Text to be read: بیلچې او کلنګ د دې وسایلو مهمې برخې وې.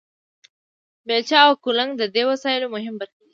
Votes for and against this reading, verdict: 1, 2, rejected